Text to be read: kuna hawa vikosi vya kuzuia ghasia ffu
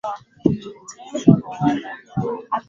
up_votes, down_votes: 2, 4